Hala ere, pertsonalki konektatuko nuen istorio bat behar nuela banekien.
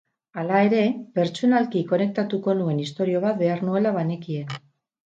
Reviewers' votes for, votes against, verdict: 4, 2, accepted